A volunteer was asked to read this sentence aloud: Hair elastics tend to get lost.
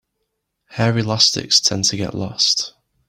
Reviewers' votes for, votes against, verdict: 2, 0, accepted